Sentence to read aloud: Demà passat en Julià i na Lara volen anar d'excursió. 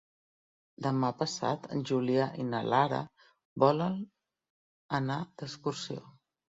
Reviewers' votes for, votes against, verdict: 3, 0, accepted